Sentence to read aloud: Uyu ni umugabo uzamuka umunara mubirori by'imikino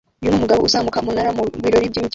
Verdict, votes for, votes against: rejected, 0, 2